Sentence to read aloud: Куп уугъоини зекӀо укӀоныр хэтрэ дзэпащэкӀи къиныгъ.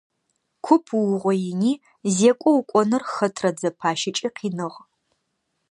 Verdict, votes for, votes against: accepted, 2, 0